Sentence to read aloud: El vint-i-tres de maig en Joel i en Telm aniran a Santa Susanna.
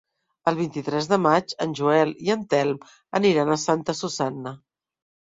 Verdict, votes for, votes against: rejected, 0, 2